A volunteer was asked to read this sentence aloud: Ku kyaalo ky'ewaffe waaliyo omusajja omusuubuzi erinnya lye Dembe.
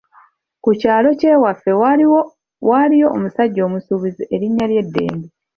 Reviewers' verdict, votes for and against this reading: rejected, 1, 2